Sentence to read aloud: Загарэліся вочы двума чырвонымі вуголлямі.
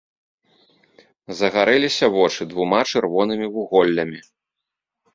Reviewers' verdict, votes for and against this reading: accepted, 2, 0